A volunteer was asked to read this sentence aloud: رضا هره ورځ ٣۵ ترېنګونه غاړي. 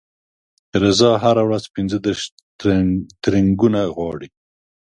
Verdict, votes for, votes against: rejected, 0, 2